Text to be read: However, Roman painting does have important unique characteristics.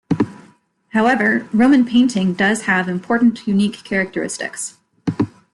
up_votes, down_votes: 2, 0